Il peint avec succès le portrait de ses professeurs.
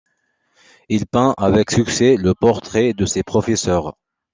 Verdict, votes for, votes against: accepted, 2, 0